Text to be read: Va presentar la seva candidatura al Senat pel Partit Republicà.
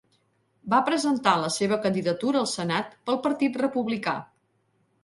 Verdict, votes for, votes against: accepted, 3, 0